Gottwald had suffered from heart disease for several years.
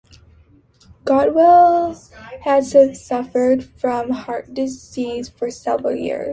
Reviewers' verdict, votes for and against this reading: rejected, 0, 2